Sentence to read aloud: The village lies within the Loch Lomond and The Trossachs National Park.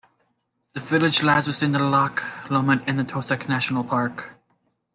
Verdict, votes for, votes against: accepted, 3, 0